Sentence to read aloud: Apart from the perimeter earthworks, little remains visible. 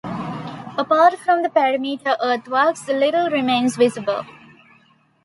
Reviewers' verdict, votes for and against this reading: accepted, 2, 0